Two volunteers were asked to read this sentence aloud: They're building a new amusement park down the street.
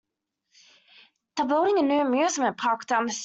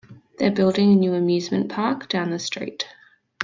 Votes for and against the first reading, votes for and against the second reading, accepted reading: 0, 2, 2, 0, second